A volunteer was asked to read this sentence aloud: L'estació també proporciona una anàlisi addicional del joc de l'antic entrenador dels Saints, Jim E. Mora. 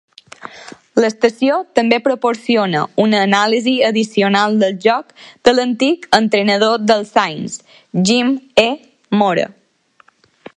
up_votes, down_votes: 2, 0